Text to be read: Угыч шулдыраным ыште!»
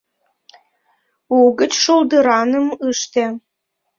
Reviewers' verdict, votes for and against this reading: rejected, 0, 2